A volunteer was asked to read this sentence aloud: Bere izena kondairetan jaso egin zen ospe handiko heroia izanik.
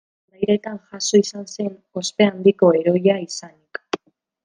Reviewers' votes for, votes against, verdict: 0, 2, rejected